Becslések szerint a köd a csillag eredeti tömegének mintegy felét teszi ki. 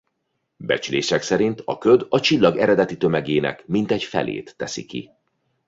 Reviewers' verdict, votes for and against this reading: accepted, 2, 0